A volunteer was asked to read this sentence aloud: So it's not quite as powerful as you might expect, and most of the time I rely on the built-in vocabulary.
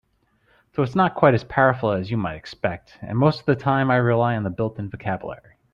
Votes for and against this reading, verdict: 2, 0, accepted